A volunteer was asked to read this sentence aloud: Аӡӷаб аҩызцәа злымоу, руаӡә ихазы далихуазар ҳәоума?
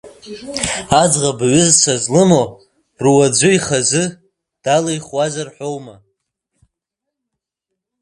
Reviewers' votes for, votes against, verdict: 0, 2, rejected